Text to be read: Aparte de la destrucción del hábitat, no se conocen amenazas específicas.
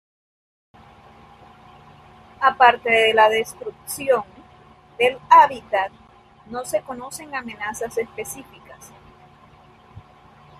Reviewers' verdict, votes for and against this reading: rejected, 0, 3